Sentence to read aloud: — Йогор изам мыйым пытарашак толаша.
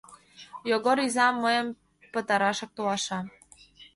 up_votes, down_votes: 2, 0